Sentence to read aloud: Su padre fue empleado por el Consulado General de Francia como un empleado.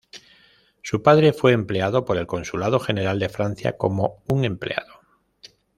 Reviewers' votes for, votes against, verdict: 2, 0, accepted